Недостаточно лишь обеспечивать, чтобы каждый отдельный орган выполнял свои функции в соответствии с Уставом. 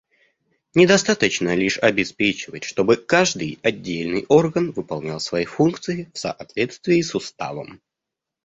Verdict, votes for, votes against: accepted, 2, 1